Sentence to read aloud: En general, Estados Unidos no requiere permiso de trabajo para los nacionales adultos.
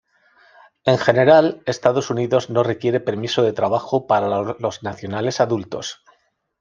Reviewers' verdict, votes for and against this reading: accepted, 2, 0